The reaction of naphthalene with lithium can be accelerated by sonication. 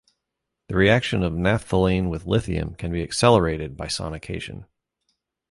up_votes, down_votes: 2, 0